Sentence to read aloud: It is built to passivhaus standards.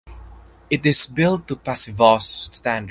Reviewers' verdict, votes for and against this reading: rejected, 0, 4